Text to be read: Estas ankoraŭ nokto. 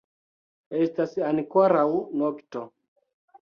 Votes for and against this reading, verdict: 1, 2, rejected